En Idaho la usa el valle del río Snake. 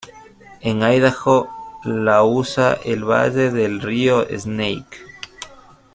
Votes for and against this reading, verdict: 2, 0, accepted